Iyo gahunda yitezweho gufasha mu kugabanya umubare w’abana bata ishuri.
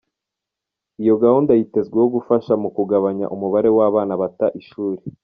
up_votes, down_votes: 2, 0